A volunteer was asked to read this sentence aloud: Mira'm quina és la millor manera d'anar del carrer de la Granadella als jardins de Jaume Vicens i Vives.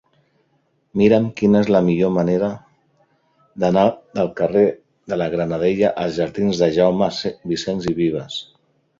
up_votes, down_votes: 0, 2